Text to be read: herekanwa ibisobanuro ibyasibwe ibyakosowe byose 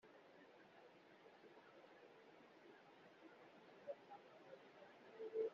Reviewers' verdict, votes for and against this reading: rejected, 0, 2